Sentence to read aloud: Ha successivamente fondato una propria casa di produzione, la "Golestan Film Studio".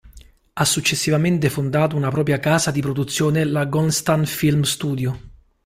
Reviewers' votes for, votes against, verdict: 0, 2, rejected